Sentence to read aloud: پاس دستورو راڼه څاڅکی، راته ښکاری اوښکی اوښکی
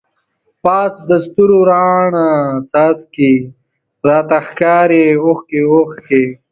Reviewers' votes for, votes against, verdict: 2, 0, accepted